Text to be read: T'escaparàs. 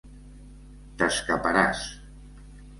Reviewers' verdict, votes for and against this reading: accepted, 2, 0